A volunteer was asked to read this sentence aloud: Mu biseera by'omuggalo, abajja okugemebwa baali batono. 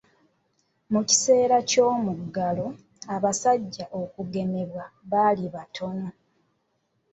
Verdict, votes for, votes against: rejected, 0, 2